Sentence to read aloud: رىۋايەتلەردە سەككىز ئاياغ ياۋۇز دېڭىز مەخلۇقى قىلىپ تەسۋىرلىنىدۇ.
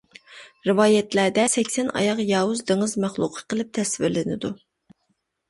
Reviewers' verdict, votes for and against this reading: rejected, 0, 2